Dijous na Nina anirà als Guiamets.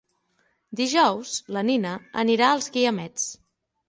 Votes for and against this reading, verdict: 0, 6, rejected